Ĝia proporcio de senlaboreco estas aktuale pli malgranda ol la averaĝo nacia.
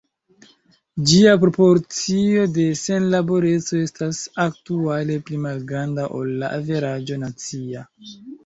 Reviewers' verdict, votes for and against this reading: rejected, 1, 2